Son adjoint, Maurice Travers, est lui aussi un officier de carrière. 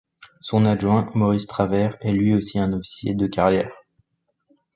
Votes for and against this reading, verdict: 2, 0, accepted